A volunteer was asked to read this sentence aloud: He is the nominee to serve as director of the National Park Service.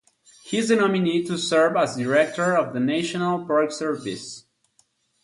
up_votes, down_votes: 2, 0